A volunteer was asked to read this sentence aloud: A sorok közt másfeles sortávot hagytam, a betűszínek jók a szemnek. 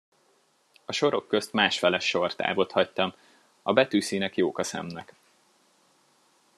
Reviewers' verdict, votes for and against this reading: accepted, 2, 0